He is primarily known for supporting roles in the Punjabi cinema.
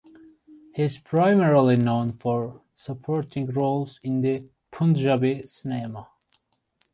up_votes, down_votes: 1, 2